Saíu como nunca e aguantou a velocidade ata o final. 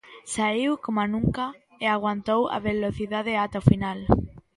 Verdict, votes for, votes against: rejected, 1, 2